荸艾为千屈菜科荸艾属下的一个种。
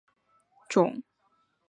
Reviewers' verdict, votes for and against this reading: rejected, 0, 3